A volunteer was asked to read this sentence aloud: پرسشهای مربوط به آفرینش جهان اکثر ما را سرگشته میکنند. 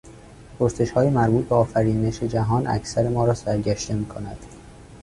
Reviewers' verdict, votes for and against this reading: rejected, 0, 2